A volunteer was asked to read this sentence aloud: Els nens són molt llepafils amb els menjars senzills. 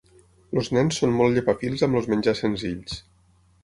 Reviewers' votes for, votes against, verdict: 0, 6, rejected